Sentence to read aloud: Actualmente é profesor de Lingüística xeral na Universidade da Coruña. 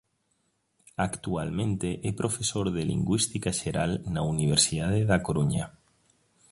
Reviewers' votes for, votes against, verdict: 2, 0, accepted